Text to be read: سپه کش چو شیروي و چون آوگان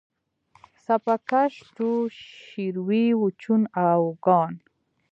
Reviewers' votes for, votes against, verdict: 0, 2, rejected